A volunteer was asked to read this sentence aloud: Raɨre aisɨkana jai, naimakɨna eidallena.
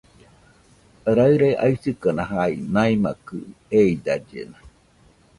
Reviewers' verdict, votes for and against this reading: rejected, 1, 2